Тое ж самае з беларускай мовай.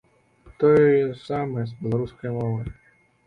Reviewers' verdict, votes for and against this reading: rejected, 1, 2